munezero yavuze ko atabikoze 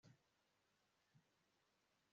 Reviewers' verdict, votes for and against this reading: rejected, 0, 2